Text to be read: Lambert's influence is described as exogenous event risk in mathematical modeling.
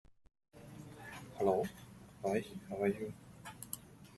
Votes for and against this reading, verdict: 0, 2, rejected